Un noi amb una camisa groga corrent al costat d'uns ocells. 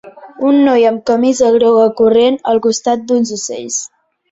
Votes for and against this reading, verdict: 0, 2, rejected